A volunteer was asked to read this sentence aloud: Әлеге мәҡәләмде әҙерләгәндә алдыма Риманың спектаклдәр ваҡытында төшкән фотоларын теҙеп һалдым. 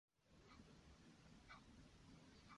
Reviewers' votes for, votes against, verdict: 0, 2, rejected